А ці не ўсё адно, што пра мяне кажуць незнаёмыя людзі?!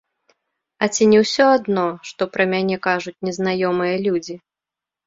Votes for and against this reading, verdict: 0, 2, rejected